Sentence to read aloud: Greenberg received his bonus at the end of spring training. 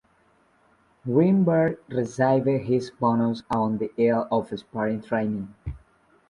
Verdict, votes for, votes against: rejected, 0, 2